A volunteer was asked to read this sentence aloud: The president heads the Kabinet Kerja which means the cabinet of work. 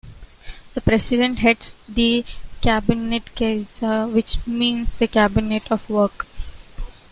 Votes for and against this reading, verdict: 0, 2, rejected